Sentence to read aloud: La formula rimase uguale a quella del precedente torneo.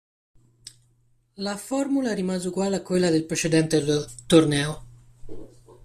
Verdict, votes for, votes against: rejected, 0, 2